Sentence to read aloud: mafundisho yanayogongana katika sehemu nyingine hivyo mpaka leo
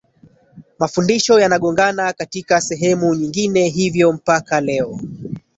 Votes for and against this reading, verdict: 1, 2, rejected